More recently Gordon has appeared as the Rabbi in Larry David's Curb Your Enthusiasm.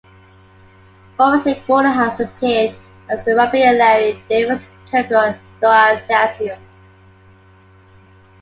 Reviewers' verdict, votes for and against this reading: rejected, 0, 2